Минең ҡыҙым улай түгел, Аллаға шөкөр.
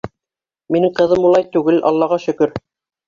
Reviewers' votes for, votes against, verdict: 3, 1, accepted